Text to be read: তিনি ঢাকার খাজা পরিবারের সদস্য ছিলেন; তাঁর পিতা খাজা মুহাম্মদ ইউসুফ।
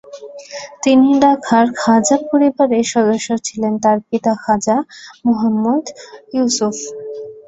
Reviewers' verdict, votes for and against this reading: rejected, 1, 2